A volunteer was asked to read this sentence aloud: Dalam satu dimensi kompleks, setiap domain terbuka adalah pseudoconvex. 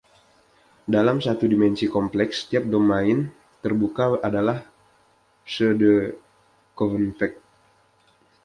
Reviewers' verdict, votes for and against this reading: rejected, 1, 2